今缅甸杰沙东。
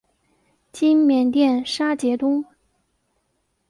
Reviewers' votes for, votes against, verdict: 2, 1, accepted